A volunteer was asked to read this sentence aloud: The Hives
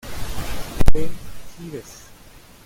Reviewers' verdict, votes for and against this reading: rejected, 0, 2